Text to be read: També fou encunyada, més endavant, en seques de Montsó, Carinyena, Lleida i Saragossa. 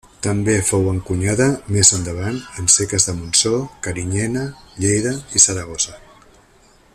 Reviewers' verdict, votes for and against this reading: accepted, 2, 0